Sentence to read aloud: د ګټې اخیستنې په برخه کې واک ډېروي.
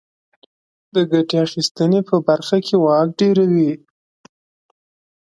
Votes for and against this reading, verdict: 3, 0, accepted